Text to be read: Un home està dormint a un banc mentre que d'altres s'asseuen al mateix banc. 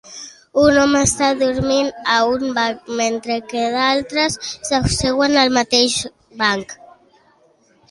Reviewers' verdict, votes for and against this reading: accepted, 2, 0